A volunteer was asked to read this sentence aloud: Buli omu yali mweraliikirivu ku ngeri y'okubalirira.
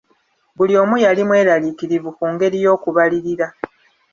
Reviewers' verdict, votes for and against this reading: accepted, 2, 1